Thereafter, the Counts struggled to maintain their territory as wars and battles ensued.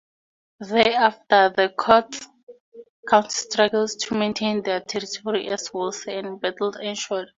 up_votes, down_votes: 2, 0